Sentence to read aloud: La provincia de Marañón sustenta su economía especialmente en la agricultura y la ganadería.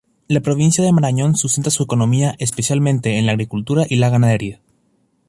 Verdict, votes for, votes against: rejected, 0, 2